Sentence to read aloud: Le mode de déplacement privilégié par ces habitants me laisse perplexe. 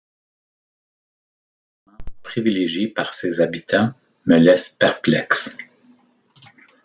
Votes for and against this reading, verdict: 1, 2, rejected